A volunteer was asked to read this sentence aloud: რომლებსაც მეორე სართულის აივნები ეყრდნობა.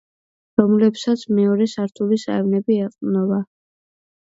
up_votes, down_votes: 2, 0